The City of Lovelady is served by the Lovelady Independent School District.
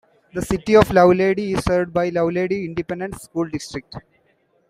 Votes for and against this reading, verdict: 2, 0, accepted